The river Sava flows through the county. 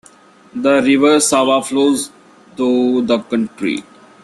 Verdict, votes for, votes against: rejected, 1, 2